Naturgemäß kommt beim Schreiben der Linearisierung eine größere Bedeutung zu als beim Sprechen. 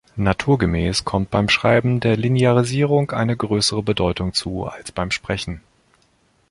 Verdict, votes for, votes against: accepted, 2, 0